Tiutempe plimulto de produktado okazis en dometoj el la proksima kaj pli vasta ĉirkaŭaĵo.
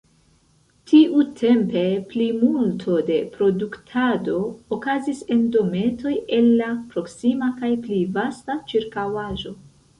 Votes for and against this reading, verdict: 0, 2, rejected